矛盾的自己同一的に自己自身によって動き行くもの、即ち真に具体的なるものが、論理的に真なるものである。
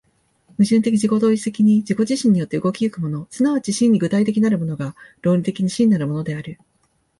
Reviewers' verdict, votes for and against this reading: accepted, 2, 0